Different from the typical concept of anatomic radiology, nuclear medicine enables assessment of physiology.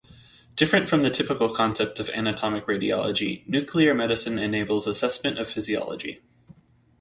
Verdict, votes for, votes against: rejected, 0, 2